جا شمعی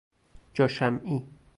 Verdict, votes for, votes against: rejected, 0, 2